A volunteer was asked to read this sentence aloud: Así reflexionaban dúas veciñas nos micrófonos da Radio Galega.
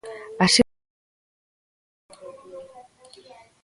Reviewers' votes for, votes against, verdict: 0, 2, rejected